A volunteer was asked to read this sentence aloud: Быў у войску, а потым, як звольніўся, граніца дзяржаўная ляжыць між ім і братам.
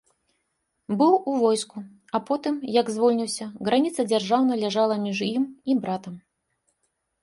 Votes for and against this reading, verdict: 1, 2, rejected